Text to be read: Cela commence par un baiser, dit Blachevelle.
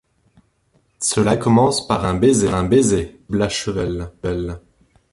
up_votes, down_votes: 0, 2